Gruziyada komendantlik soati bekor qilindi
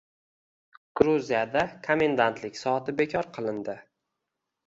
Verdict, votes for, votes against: accepted, 2, 0